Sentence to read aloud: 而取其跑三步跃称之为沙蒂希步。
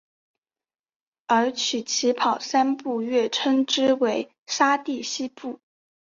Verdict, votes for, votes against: rejected, 0, 2